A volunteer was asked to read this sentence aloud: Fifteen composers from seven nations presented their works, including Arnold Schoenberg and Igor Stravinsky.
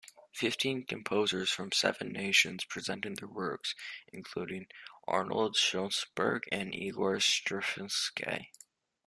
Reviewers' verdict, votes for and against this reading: rejected, 1, 2